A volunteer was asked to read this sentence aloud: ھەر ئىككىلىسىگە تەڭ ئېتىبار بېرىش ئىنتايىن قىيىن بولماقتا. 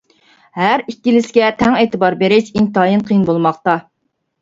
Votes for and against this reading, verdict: 2, 0, accepted